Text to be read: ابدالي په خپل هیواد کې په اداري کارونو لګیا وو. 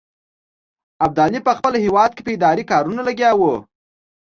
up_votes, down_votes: 2, 0